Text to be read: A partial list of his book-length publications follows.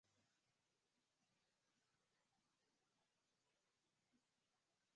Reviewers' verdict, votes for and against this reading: rejected, 0, 2